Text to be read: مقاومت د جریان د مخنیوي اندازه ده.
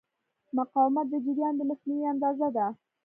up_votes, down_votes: 2, 0